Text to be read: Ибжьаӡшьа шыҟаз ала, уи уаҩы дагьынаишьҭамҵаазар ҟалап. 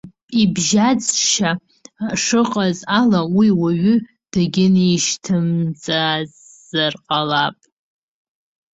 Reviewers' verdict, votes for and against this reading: rejected, 1, 2